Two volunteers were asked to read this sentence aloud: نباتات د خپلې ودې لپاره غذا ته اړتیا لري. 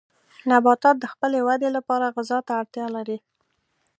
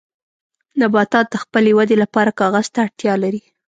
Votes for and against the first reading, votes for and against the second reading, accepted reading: 3, 0, 0, 2, first